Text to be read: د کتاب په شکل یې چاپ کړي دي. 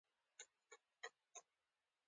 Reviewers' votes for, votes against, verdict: 2, 1, accepted